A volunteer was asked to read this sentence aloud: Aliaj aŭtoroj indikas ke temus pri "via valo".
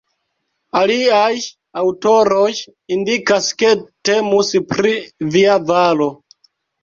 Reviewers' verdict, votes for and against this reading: accepted, 2, 0